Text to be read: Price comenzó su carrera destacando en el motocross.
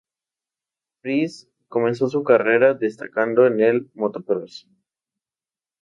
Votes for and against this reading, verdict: 2, 0, accepted